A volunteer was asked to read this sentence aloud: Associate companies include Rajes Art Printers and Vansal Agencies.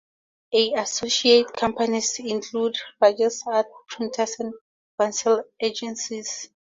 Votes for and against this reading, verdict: 2, 0, accepted